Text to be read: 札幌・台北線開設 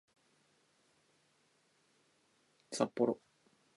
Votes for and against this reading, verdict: 0, 2, rejected